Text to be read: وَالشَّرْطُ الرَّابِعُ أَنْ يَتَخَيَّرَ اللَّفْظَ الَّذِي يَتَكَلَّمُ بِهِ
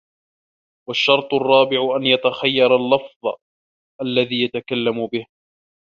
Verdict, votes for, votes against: accepted, 2, 1